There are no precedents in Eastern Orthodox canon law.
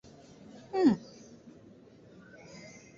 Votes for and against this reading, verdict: 0, 2, rejected